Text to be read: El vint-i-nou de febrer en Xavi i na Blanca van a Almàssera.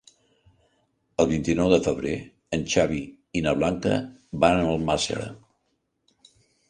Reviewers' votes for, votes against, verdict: 2, 0, accepted